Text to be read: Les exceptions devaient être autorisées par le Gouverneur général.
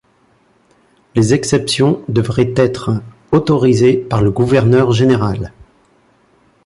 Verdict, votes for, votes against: rejected, 1, 2